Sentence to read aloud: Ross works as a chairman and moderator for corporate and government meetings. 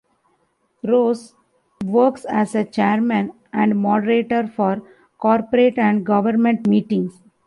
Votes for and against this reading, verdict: 2, 0, accepted